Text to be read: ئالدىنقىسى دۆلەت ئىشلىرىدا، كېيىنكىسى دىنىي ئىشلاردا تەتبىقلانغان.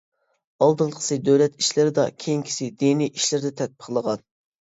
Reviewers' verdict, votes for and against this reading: rejected, 0, 2